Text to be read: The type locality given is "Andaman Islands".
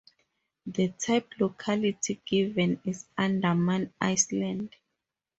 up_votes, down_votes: 2, 2